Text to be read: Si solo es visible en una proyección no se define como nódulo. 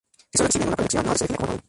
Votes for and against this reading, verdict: 0, 2, rejected